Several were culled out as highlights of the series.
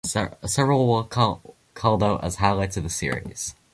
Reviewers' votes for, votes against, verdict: 1, 2, rejected